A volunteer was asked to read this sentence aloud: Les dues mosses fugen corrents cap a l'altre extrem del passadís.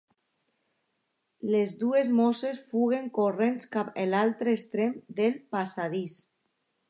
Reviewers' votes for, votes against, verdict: 0, 2, rejected